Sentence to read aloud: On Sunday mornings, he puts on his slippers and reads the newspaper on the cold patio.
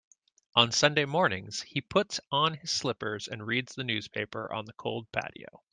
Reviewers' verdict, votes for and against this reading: accepted, 2, 0